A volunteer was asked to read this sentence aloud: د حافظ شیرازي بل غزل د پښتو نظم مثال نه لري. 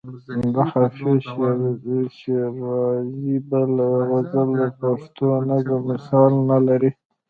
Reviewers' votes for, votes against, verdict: 0, 2, rejected